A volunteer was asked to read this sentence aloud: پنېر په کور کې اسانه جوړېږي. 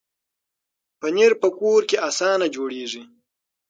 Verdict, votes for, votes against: accepted, 6, 0